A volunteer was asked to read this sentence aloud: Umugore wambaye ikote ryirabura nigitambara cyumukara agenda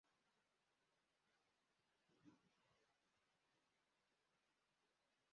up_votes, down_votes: 0, 2